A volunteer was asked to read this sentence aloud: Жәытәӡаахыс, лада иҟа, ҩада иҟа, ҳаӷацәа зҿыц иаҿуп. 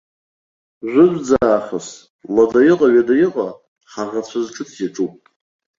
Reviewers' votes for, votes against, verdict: 0, 2, rejected